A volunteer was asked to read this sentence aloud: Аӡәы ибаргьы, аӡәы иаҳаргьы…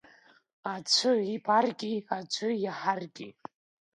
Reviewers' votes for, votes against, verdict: 3, 2, accepted